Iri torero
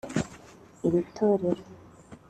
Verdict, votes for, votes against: accepted, 4, 0